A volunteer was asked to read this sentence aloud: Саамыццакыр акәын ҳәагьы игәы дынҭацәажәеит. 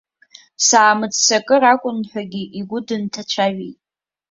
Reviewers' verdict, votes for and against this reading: accepted, 2, 0